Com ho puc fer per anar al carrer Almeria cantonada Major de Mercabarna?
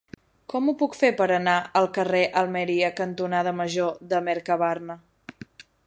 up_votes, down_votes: 15, 0